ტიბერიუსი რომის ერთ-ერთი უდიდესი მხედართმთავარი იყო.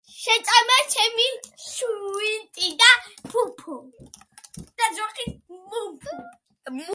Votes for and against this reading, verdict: 0, 2, rejected